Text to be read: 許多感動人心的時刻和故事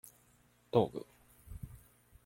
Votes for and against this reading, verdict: 0, 2, rejected